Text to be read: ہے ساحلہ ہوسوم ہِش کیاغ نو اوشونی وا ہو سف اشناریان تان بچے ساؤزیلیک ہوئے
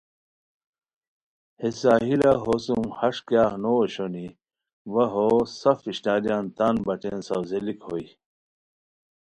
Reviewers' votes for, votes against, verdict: 2, 1, accepted